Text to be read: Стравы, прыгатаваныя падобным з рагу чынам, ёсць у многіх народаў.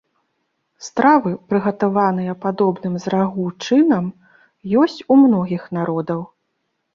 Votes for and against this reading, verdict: 2, 0, accepted